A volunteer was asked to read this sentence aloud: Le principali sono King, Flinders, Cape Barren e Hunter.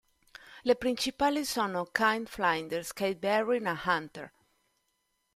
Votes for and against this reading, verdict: 0, 2, rejected